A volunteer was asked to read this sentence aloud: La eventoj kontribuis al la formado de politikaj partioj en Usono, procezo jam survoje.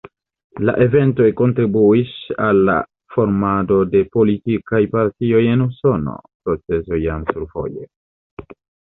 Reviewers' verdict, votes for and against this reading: rejected, 1, 2